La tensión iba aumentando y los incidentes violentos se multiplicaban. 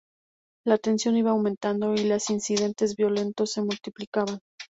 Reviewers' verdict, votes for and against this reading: accepted, 4, 0